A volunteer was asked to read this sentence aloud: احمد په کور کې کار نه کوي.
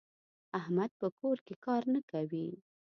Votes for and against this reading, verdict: 2, 0, accepted